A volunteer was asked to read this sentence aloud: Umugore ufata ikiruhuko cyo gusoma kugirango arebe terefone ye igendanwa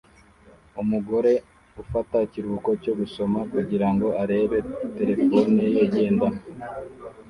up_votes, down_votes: 2, 0